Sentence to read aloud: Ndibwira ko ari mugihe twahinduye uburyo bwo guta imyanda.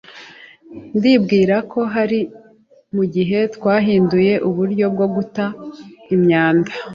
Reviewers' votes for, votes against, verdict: 0, 2, rejected